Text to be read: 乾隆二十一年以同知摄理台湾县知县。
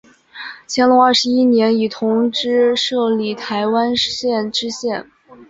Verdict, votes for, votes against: accepted, 3, 0